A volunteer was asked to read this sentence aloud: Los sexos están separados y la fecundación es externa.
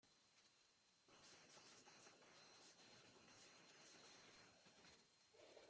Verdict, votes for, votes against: rejected, 0, 2